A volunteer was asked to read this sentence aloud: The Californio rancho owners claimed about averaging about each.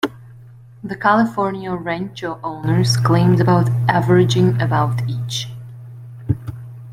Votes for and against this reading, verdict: 1, 2, rejected